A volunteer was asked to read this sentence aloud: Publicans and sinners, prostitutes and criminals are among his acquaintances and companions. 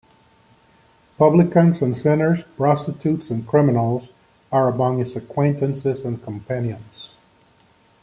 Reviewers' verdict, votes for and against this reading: accepted, 2, 0